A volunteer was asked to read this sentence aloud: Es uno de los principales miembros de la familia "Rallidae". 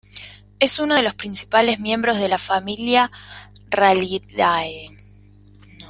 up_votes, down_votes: 2, 0